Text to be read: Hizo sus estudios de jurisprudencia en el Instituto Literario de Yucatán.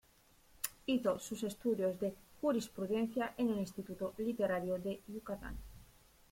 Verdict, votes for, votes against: accepted, 2, 1